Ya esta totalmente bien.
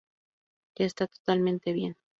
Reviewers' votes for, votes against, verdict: 2, 0, accepted